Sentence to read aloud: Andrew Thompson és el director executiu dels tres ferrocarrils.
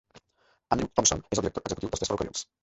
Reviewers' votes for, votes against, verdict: 0, 2, rejected